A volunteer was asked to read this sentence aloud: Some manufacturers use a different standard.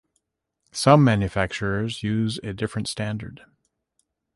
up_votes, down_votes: 2, 0